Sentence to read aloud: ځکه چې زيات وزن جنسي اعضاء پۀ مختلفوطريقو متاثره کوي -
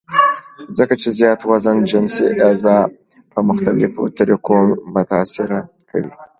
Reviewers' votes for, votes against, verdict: 2, 0, accepted